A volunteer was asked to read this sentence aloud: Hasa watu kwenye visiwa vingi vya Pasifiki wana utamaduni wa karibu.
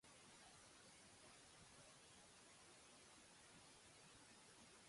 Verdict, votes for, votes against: rejected, 0, 2